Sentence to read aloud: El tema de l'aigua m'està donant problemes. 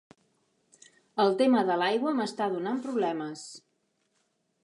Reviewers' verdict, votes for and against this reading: accepted, 7, 0